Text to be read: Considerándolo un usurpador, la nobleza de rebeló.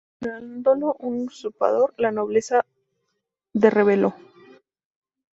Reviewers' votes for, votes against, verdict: 0, 2, rejected